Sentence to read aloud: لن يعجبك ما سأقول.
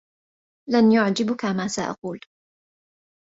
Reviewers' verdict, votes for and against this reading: accepted, 2, 1